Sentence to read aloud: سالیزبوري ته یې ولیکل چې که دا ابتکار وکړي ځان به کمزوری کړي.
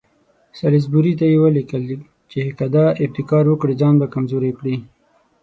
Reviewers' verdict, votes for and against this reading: accepted, 6, 0